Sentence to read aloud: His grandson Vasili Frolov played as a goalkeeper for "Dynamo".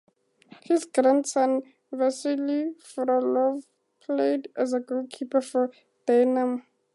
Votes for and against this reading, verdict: 0, 4, rejected